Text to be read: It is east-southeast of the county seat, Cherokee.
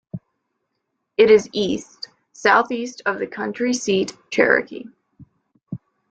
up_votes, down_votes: 0, 2